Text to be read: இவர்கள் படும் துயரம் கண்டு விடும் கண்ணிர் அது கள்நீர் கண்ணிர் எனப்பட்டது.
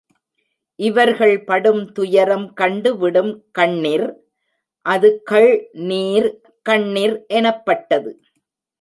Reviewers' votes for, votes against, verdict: 2, 0, accepted